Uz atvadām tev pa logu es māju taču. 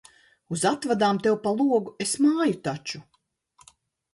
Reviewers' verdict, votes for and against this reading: accepted, 2, 1